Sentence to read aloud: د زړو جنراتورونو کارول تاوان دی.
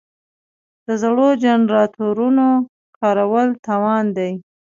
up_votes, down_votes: 2, 0